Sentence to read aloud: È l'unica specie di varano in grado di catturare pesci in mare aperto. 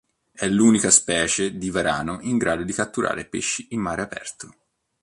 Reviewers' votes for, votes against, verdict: 3, 0, accepted